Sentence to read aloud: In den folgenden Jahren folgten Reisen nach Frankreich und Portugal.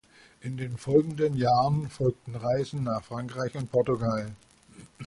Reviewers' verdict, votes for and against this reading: accepted, 2, 0